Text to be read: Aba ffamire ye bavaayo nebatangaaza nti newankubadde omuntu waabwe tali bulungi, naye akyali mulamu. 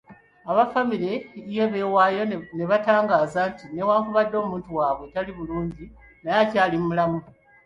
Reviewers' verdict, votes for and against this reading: rejected, 1, 2